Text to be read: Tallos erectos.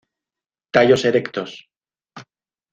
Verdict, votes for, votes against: accepted, 2, 0